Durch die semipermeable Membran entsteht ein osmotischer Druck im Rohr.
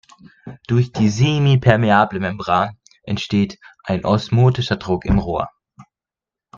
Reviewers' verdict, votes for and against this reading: accepted, 2, 0